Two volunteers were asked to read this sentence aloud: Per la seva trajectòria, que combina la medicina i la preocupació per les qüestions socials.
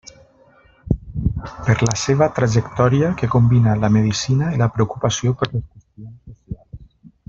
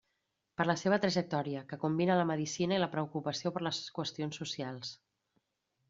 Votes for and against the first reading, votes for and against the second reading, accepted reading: 0, 2, 3, 0, second